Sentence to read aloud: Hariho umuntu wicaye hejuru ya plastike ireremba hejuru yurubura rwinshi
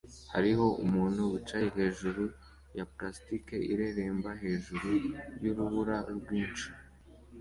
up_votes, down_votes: 2, 0